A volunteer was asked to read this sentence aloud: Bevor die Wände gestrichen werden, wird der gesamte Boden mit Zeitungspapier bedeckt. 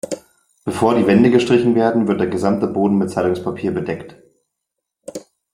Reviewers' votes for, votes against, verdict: 2, 0, accepted